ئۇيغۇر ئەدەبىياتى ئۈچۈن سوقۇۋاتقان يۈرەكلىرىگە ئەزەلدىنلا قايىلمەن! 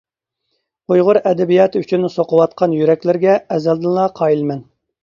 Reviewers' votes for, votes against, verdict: 2, 0, accepted